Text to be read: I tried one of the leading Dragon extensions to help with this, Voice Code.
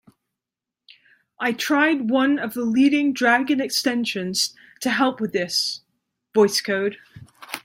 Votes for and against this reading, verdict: 2, 0, accepted